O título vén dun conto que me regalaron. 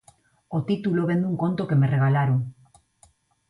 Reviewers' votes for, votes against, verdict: 2, 0, accepted